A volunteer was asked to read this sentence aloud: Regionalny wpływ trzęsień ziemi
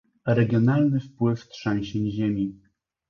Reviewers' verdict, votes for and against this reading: accepted, 2, 0